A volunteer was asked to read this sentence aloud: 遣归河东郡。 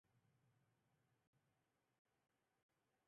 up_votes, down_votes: 2, 4